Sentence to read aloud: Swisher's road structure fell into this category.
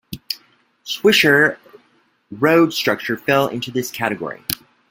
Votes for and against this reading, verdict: 0, 2, rejected